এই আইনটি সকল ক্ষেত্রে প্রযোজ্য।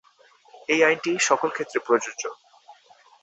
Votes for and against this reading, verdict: 2, 0, accepted